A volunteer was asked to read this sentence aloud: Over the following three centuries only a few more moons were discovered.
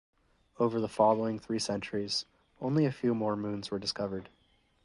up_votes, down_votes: 2, 2